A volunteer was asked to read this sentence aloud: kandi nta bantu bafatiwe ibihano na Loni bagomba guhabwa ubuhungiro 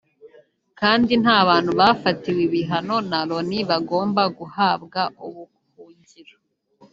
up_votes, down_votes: 0, 2